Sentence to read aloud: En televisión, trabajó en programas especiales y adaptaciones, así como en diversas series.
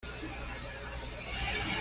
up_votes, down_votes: 1, 2